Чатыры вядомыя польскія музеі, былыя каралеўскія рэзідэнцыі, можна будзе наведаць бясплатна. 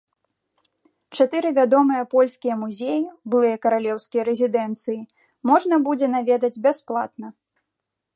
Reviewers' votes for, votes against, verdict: 2, 0, accepted